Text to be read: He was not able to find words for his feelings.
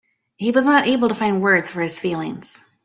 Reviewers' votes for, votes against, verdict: 2, 0, accepted